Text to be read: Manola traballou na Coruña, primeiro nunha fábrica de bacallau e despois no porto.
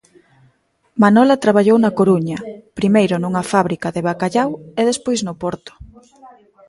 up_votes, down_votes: 1, 2